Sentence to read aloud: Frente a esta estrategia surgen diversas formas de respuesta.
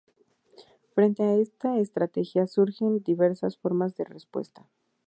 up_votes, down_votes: 2, 0